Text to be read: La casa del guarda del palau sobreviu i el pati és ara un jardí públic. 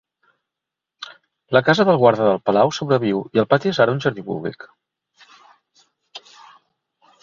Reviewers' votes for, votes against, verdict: 1, 2, rejected